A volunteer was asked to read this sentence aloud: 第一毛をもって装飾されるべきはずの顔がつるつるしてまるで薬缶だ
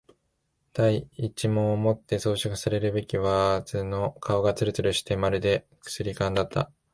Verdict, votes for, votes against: rejected, 0, 2